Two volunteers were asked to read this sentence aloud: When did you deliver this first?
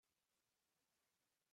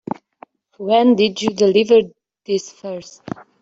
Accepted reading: second